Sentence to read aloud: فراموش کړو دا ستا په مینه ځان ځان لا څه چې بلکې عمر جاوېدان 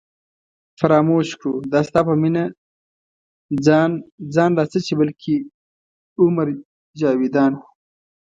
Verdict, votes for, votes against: accepted, 2, 0